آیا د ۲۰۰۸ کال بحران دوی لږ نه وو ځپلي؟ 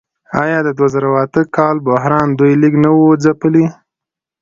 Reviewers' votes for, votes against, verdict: 0, 2, rejected